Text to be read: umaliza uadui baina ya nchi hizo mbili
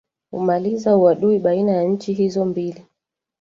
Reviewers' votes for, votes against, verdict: 2, 1, accepted